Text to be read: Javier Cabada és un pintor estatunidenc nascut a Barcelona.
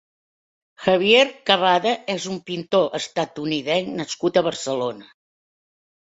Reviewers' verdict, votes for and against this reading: accepted, 3, 0